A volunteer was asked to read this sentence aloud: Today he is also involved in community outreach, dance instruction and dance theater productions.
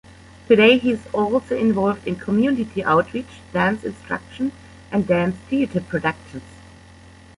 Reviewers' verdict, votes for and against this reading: accepted, 2, 1